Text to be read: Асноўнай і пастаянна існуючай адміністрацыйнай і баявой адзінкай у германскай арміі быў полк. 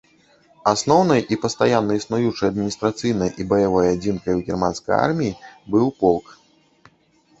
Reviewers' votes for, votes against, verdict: 1, 2, rejected